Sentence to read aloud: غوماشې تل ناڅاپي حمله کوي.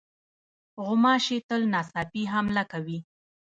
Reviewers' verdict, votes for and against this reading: rejected, 1, 2